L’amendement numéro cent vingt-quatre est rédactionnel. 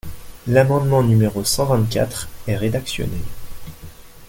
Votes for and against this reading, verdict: 2, 1, accepted